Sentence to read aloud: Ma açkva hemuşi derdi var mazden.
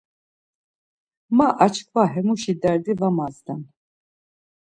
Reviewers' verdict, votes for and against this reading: accepted, 2, 0